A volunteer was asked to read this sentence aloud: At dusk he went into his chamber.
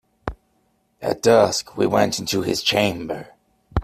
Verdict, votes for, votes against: accepted, 2, 0